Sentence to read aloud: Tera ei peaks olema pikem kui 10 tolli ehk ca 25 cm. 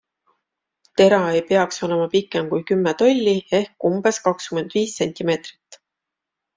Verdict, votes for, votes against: rejected, 0, 2